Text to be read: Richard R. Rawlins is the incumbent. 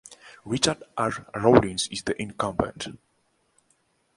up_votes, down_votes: 2, 0